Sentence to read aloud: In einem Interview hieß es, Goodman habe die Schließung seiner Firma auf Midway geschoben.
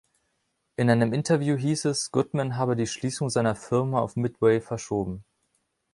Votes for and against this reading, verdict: 0, 2, rejected